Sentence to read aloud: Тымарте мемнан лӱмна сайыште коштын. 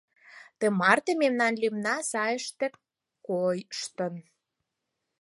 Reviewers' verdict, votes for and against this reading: accepted, 4, 2